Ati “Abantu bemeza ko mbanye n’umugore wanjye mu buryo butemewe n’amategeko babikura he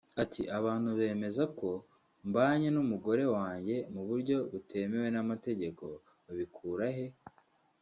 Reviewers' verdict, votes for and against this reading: rejected, 0, 2